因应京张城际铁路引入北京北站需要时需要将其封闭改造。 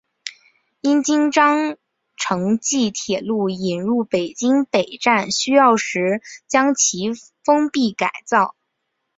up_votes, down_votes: 2, 1